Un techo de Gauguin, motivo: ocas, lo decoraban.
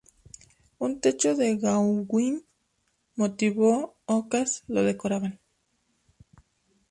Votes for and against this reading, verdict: 2, 0, accepted